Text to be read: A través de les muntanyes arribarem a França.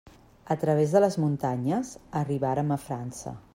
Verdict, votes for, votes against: rejected, 0, 2